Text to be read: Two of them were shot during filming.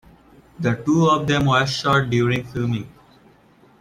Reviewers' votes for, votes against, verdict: 1, 3, rejected